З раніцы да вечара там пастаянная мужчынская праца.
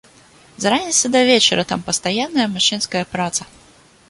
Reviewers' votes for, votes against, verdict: 1, 2, rejected